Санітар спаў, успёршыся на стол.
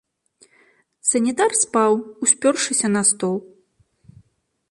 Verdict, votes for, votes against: accepted, 2, 0